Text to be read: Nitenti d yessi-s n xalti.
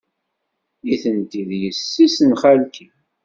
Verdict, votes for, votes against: accepted, 2, 0